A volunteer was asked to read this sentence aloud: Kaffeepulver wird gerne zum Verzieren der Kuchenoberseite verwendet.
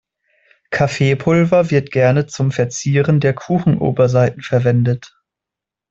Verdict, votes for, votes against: accepted, 2, 1